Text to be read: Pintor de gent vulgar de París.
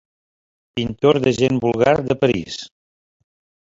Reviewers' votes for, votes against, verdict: 1, 2, rejected